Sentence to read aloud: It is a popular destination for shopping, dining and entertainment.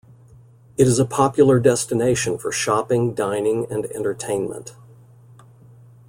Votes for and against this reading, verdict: 2, 0, accepted